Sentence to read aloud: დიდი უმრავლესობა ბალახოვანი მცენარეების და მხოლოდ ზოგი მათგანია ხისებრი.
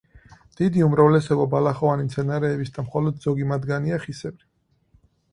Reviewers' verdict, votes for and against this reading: rejected, 2, 4